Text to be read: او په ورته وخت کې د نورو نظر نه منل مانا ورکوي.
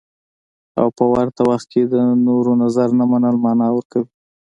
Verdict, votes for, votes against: accepted, 2, 1